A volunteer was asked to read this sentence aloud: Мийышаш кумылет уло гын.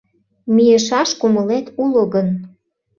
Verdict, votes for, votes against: accepted, 2, 0